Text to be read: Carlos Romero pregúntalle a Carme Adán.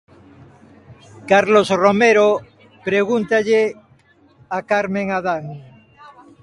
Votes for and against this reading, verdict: 0, 2, rejected